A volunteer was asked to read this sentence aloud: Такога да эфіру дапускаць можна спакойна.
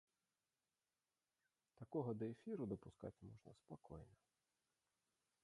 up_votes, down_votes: 0, 2